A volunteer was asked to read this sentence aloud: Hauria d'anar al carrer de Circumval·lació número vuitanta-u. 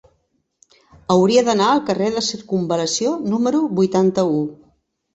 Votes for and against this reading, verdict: 3, 0, accepted